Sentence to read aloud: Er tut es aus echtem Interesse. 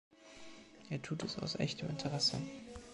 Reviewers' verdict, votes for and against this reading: accepted, 2, 0